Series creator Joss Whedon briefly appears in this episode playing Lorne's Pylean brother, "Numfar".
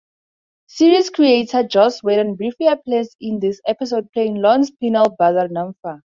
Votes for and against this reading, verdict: 0, 2, rejected